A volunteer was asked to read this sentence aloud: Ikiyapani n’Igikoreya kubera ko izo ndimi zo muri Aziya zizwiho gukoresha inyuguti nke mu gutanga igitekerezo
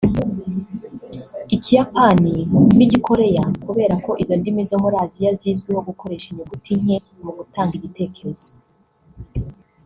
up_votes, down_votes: 1, 2